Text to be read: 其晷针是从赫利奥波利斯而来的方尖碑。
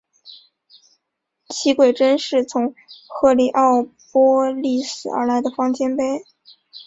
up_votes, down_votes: 2, 1